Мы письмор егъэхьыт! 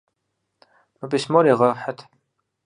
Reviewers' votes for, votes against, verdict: 4, 0, accepted